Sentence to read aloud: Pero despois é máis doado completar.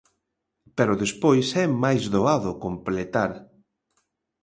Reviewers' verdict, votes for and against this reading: accepted, 2, 0